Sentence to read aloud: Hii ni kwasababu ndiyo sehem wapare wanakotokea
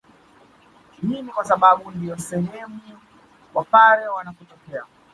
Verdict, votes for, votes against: accepted, 2, 1